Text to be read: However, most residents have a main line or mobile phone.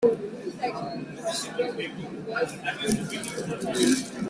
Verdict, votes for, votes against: rejected, 0, 2